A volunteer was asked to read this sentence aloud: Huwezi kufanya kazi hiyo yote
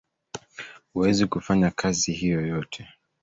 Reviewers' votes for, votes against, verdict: 2, 1, accepted